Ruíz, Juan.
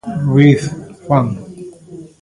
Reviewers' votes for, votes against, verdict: 1, 2, rejected